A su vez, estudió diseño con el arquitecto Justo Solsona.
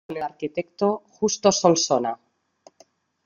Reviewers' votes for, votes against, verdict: 0, 2, rejected